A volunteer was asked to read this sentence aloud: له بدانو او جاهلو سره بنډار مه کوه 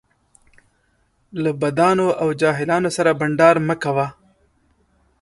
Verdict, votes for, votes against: rejected, 1, 2